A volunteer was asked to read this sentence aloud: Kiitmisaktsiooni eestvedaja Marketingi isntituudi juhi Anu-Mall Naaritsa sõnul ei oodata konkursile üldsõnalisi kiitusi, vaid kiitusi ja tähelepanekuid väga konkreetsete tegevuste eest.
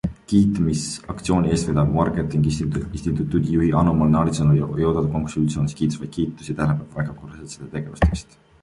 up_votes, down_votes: 0, 2